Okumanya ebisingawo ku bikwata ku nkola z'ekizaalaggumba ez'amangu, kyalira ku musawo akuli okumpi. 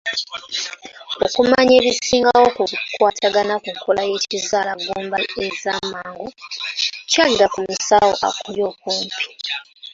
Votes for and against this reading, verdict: 0, 2, rejected